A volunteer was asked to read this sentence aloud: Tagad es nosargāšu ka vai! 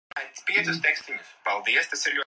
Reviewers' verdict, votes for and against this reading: rejected, 0, 2